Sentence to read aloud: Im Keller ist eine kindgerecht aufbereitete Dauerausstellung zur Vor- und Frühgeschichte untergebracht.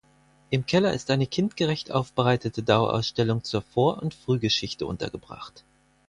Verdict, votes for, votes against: accepted, 4, 0